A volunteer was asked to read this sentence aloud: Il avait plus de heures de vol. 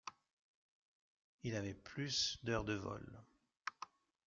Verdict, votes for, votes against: rejected, 0, 2